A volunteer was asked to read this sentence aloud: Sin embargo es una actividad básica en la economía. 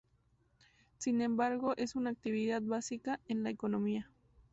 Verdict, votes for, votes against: accepted, 4, 0